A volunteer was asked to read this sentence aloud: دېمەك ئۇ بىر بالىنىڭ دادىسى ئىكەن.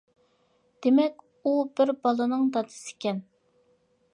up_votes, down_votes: 2, 0